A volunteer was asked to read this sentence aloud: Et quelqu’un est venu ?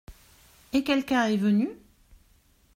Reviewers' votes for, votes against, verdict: 2, 0, accepted